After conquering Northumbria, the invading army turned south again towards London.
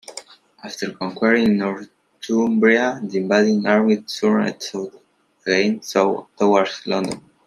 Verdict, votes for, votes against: rejected, 0, 2